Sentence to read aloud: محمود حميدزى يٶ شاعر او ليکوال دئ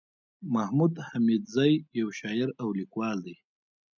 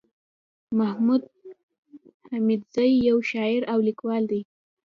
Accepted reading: first